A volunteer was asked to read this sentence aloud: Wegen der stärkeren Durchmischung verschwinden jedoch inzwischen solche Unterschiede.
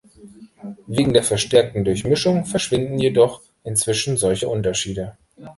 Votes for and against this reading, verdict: 0, 2, rejected